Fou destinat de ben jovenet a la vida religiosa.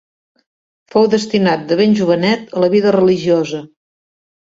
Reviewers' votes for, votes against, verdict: 2, 0, accepted